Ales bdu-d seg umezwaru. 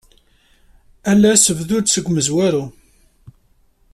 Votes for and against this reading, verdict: 2, 1, accepted